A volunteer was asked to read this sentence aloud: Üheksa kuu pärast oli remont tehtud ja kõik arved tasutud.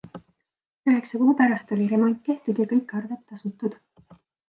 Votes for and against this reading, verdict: 2, 0, accepted